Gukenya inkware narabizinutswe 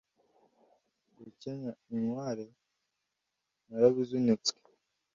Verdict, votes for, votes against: accepted, 2, 0